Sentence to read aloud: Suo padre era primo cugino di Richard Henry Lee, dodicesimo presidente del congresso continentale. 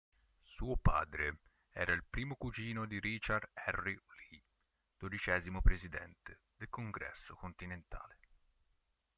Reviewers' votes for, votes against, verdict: 1, 2, rejected